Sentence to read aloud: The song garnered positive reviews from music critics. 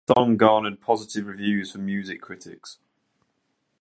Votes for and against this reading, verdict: 2, 0, accepted